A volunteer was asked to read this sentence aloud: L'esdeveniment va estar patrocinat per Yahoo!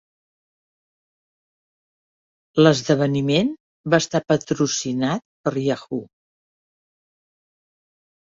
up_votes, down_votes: 3, 0